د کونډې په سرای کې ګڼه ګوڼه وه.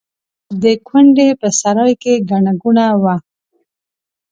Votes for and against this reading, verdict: 2, 0, accepted